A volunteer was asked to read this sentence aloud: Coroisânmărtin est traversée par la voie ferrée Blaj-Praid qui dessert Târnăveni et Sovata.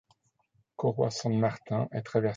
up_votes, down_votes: 0, 2